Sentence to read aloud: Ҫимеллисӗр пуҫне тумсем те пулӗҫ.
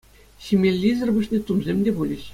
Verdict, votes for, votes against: accepted, 2, 0